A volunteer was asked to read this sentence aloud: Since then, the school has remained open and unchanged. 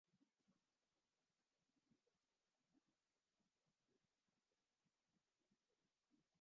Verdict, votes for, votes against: rejected, 0, 2